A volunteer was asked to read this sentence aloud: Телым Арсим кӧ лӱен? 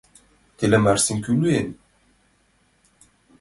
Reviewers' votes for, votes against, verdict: 2, 1, accepted